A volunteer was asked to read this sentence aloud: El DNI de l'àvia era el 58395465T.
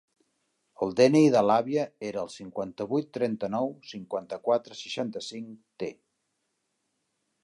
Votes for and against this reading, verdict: 0, 2, rejected